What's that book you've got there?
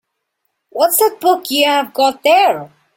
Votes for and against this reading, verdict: 0, 2, rejected